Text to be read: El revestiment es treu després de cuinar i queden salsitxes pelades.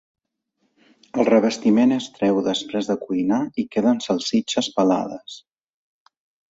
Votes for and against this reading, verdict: 2, 0, accepted